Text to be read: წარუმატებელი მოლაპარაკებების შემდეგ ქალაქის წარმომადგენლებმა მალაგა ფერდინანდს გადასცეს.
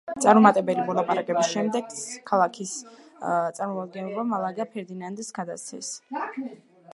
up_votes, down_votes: 2, 1